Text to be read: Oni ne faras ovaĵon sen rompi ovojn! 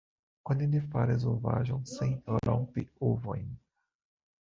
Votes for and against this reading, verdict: 2, 0, accepted